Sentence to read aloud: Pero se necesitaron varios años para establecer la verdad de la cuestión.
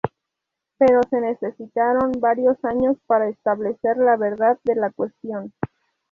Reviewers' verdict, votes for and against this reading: accepted, 4, 0